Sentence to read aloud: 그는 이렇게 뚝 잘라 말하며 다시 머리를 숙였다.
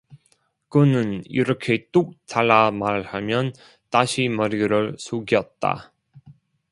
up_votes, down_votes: 0, 2